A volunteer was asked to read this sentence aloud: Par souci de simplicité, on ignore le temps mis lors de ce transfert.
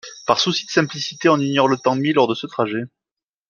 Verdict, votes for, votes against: rejected, 1, 2